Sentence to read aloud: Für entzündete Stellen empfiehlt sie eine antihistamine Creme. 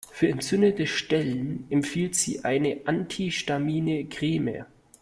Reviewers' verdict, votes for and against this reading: rejected, 0, 2